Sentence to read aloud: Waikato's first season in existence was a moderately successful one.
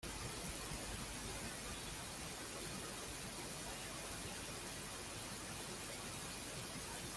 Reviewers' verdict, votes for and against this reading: rejected, 0, 2